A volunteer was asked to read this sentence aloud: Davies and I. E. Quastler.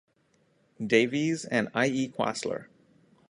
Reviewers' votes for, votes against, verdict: 2, 0, accepted